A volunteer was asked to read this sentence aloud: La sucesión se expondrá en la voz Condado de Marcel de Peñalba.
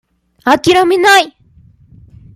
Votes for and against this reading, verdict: 0, 2, rejected